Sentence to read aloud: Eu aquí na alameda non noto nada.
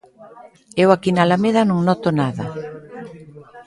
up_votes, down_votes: 2, 0